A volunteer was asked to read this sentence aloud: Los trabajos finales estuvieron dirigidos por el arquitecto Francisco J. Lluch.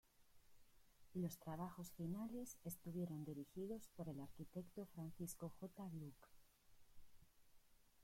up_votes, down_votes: 2, 0